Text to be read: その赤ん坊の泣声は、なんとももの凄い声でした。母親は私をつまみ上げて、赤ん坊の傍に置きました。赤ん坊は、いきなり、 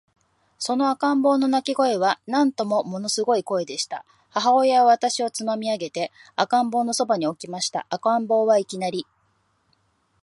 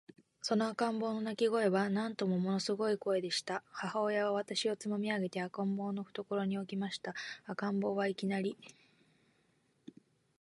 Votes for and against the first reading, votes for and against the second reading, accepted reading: 2, 0, 1, 2, first